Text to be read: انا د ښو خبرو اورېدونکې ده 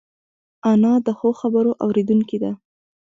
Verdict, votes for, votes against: accepted, 2, 0